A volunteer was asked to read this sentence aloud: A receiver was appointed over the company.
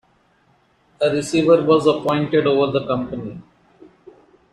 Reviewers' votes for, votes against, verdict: 2, 1, accepted